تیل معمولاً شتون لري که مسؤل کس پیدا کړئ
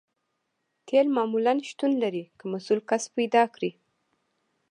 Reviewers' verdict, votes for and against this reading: accepted, 2, 0